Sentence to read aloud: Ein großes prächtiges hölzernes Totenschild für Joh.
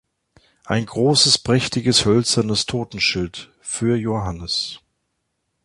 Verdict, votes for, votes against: rejected, 0, 3